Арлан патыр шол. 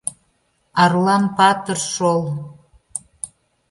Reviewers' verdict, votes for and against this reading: accepted, 2, 0